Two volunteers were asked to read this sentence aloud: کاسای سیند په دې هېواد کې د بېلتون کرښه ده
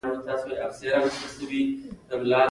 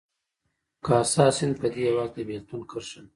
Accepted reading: first